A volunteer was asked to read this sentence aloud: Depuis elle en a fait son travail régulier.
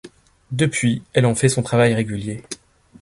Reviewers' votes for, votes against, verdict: 1, 2, rejected